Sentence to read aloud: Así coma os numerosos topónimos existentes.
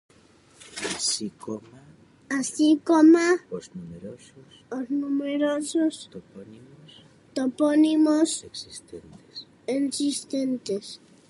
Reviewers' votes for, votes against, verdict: 0, 2, rejected